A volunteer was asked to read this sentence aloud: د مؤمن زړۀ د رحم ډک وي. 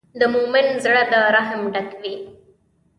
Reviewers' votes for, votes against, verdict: 2, 0, accepted